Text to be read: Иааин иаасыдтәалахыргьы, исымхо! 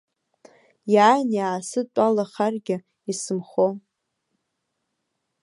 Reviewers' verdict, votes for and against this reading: rejected, 0, 2